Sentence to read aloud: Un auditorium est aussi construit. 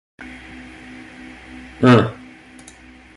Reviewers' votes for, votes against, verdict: 0, 2, rejected